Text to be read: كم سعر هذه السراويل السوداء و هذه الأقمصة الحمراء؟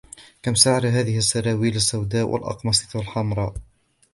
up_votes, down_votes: 0, 2